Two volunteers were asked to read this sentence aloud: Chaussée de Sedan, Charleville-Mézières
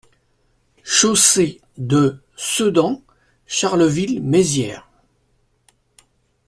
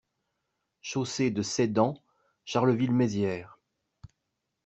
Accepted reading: first